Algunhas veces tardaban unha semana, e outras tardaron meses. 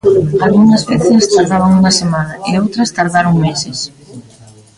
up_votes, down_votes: 0, 2